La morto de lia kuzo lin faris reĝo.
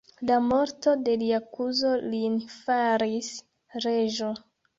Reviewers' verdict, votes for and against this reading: rejected, 1, 2